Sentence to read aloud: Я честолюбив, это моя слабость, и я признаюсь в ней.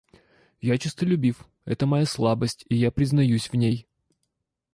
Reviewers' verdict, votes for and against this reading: rejected, 1, 2